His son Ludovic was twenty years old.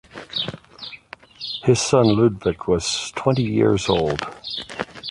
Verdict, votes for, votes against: rejected, 0, 2